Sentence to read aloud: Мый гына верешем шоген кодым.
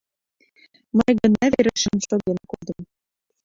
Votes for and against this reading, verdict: 1, 2, rejected